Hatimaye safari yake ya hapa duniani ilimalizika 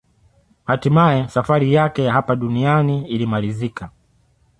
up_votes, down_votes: 2, 0